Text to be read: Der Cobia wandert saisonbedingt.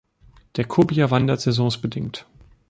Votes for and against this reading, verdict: 0, 2, rejected